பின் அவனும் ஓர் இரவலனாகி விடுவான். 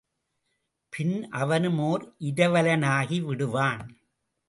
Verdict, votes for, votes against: accepted, 2, 0